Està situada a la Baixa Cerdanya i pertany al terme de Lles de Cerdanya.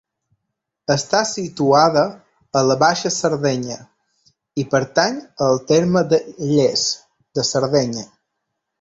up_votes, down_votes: 1, 2